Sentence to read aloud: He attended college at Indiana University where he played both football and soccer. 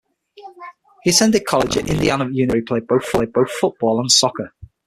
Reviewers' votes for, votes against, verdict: 0, 6, rejected